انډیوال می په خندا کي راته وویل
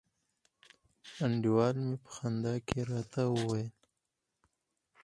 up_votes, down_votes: 4, 0